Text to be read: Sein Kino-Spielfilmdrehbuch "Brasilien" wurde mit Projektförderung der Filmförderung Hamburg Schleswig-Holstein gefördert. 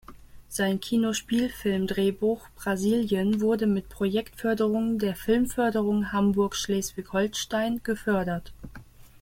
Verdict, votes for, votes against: accepted, 2, 1